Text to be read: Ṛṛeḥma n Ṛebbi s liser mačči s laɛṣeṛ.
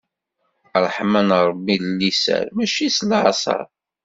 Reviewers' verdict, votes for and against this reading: rejected, 1, 2